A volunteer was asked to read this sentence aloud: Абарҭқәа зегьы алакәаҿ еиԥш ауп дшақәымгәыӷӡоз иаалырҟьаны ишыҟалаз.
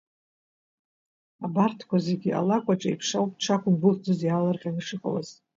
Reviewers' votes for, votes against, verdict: 2, 0, accepted